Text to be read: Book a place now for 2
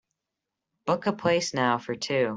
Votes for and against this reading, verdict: 0, 2, rejected